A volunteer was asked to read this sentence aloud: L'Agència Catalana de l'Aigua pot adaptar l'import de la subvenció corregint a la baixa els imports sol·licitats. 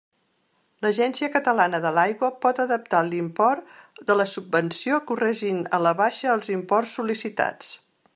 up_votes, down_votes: 3, 0